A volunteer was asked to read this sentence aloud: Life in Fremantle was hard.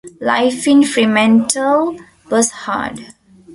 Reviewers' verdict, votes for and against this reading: accepted, 2, 0